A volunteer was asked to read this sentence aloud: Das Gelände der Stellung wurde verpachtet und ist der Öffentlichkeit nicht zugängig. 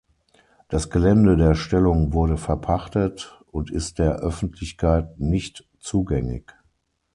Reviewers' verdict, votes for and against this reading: accepted, 6, 0